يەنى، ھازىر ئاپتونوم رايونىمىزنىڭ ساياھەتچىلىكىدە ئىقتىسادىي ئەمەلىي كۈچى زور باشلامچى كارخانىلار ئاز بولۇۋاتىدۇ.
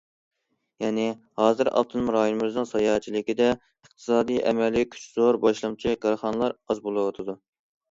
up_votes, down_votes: 2, 0